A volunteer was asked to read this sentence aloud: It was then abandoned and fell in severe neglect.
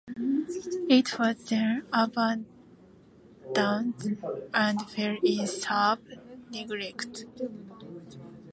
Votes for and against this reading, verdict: 0, 2, rejected